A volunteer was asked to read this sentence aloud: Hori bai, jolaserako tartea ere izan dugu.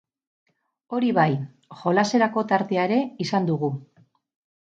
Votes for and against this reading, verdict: 4, 0, accepted